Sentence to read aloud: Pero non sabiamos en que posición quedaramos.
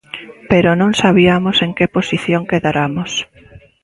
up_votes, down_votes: 2, 0